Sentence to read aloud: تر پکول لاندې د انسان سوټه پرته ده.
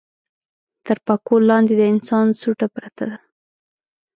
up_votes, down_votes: 3, 0